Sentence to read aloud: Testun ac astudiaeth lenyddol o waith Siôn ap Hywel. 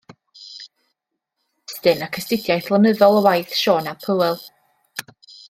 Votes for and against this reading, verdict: 2, 0, accepted